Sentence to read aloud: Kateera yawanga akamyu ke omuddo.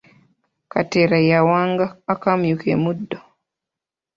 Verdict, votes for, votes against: rejected, 1, 2